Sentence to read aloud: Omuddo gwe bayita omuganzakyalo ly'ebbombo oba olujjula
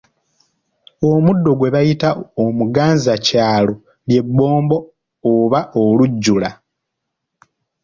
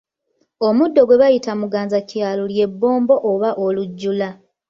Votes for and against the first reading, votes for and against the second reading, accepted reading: 2, 0, 0, 2, first